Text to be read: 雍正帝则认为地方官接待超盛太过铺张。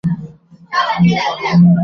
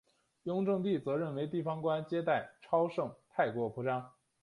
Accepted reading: second